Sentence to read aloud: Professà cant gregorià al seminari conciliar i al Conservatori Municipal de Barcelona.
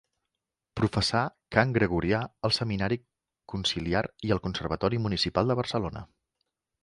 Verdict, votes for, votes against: accepted, 2, 0